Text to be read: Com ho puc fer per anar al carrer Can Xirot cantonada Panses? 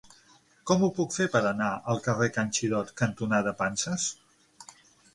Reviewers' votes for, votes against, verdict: 6, 0, accepted